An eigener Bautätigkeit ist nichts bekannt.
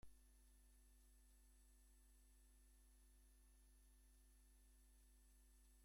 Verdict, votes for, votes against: rejected, 0, 2